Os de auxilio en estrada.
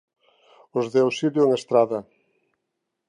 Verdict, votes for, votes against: accepted, 2, 0